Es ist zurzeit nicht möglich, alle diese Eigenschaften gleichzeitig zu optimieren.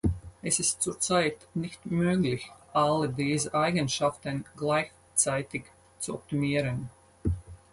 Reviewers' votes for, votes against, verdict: 0, 6, rejected